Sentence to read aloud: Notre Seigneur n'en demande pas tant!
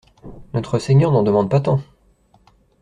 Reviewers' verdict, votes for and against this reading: accepted, 2, 0